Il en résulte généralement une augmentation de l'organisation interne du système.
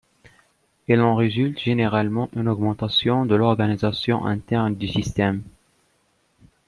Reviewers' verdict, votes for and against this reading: accepted, 2, 0